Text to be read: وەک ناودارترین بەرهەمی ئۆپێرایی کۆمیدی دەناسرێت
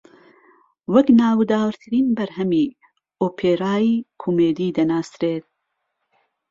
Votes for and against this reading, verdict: 1, 2, rejected